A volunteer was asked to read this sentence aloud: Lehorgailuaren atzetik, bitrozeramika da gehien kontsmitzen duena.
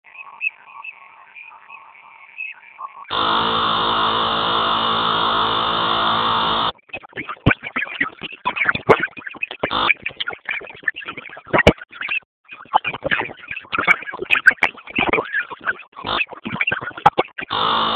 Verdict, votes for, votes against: rejected, 0, 6